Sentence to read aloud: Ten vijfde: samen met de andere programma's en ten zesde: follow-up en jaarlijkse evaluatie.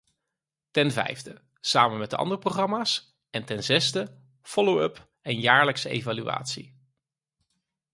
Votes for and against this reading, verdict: 4, 0, accepted